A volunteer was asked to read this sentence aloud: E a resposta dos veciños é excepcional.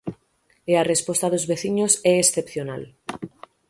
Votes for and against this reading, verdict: 6, 0, accepted